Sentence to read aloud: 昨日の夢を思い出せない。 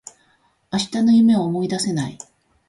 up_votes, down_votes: 0, 2